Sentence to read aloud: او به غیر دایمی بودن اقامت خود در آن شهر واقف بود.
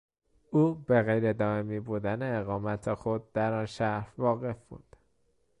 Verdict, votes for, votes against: accepted, 2, 0